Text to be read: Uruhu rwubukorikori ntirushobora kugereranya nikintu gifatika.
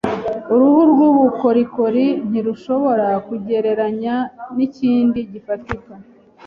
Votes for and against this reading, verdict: 1, 2, rejected